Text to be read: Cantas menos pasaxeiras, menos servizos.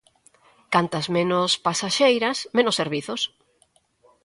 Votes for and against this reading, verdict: 2, 0, accepted